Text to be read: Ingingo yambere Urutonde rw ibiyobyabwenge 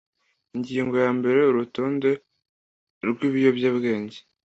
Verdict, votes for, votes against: accepted, 2, 0